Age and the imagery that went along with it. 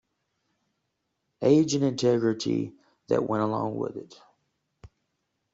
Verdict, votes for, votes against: rejected, 0, 2